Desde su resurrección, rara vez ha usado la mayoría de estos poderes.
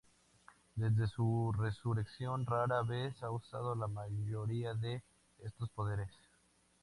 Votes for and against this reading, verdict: 2, 0, accepted